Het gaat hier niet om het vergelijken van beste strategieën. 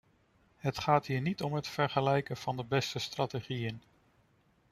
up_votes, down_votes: 0, 2